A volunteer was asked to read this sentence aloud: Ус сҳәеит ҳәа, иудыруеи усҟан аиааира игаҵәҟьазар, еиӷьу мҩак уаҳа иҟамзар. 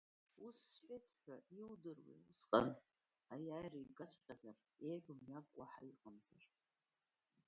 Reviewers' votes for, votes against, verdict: 1, 2, rejected